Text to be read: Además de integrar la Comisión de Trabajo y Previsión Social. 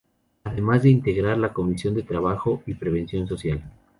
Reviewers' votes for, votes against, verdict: 2, 2, rejected